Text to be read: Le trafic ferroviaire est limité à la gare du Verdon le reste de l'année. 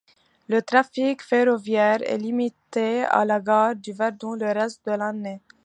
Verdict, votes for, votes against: accepted, 2, 0